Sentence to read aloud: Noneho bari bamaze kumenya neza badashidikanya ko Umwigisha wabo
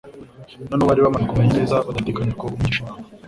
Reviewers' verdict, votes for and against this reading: rejected, 0, 2